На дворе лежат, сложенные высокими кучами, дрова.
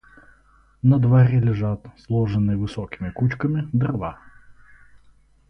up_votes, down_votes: 2, 2